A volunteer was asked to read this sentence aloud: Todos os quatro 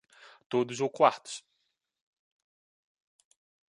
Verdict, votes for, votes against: rejected, 0, 2